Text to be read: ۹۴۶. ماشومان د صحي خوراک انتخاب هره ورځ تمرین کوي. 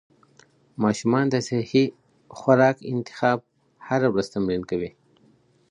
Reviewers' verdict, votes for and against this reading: rejected, 0, 2